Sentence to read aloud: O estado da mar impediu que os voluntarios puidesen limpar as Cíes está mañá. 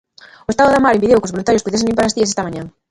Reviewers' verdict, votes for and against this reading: rejected, 0, 3